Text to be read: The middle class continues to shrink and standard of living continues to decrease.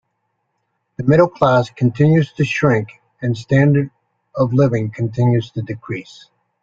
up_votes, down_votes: 3, 0